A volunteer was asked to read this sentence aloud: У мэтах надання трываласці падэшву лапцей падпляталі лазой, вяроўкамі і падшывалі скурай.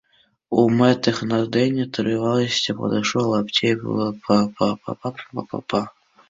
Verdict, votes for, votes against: rejected, 0, 2